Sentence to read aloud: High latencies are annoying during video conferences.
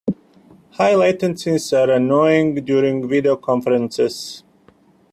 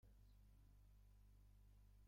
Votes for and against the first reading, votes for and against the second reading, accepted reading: 2, 0, 0, 2, first